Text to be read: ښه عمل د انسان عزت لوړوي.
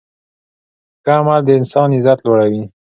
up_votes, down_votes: 2, 0